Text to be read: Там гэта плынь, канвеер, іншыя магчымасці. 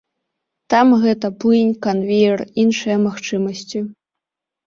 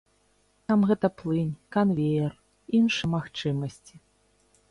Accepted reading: first